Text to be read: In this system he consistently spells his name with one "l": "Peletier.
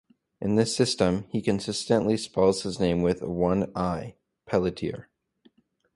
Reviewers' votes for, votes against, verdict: 0, 2, rejected